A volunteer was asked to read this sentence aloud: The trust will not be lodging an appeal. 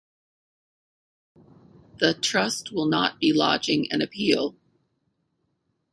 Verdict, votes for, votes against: accepted, 4, 0